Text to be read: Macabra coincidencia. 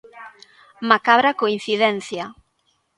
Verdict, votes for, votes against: accepted, 2, 0